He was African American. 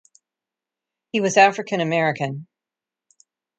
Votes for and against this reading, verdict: 2, 0, accepted